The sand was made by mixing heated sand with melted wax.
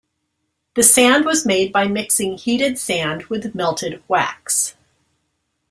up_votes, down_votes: 2, 0